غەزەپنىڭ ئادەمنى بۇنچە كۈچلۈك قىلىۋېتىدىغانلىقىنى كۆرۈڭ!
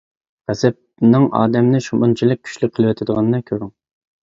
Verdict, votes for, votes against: rejected, 0, 2